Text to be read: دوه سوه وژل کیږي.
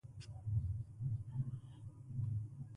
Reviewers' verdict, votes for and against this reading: rejected, 0, 2